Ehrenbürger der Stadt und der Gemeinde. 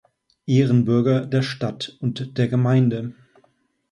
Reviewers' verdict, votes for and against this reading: accepted, 2, 0